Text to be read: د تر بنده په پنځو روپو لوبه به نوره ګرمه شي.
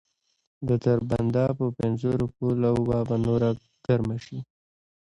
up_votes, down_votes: 0, 2